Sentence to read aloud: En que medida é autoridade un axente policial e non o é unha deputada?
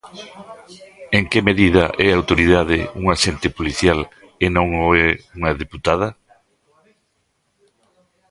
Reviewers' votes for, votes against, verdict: 1, 2, rejected